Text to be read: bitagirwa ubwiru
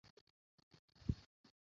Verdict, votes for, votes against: rejected, 0, 2